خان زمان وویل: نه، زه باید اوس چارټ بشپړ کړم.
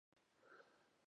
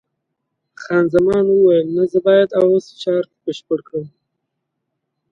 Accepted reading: second